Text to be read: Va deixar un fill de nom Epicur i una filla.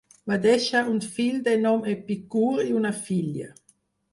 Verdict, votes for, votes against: rejected, 2, 4